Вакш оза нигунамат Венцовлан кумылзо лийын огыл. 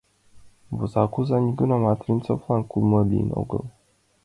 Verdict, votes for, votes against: accepted, 2, 1